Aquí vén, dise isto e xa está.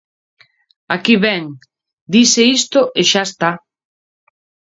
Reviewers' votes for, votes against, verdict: 2, 0, accepted